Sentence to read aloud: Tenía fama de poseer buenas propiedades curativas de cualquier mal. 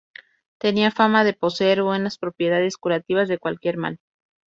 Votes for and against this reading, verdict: 2, 0, accepted